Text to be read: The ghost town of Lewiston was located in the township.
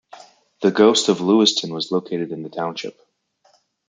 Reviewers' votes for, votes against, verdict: 0, 2, rejected